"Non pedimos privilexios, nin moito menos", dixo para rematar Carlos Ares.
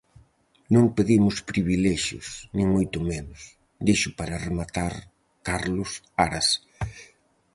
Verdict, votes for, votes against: rejected, 0, 4